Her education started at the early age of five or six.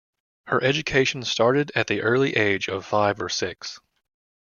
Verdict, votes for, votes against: accepted, 2, 0